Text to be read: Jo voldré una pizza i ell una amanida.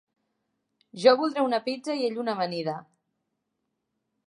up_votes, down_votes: 4, 0